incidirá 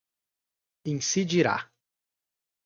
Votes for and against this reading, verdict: 2, 0, accepted